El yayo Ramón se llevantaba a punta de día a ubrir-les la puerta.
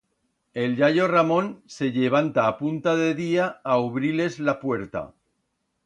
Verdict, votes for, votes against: rejected, 0, 2